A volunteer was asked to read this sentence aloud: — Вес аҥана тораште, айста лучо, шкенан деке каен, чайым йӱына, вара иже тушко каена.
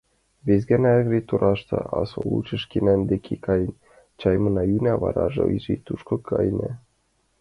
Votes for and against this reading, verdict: 0, 2, rejected